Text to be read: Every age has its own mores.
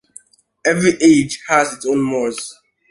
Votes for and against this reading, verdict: 2, 0, accepted